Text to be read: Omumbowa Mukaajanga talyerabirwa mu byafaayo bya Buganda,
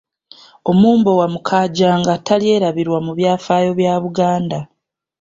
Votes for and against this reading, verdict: 2, 0, accepted